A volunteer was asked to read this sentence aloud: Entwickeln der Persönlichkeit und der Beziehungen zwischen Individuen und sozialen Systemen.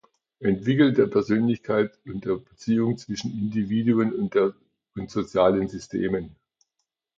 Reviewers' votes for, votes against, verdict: 0, 2, rejected